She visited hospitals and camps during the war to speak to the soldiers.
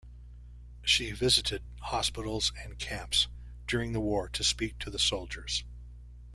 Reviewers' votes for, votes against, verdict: 2, 0, accepted